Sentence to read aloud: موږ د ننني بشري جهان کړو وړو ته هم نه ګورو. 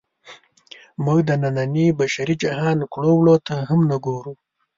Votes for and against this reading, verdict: 2, 0, accepted